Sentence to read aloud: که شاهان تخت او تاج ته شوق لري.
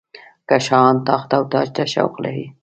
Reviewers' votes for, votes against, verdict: 0, 2, rejected